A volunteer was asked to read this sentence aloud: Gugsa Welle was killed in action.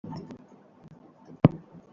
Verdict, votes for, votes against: rejected, 0, 2